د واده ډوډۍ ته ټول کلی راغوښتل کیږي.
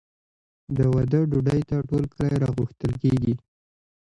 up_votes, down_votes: 1, 3